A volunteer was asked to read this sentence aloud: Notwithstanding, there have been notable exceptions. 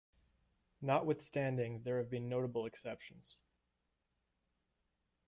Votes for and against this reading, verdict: 1, 2, rejected